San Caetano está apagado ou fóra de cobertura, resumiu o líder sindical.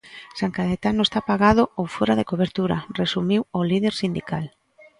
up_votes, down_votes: 2, 0